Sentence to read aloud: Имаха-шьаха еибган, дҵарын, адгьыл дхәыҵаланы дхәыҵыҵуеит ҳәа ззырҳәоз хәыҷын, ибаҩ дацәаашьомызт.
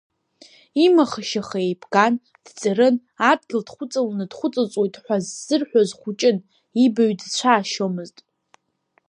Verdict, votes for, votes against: accepted, 2, 0